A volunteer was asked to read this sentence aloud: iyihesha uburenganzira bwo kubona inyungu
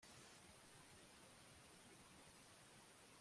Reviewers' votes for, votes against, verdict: 0, 2, rejected